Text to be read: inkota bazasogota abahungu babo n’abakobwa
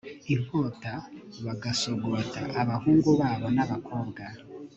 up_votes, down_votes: 1, 2